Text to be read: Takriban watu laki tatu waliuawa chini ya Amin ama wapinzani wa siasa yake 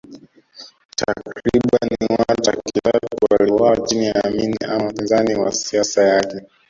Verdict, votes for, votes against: rejected, 1, 2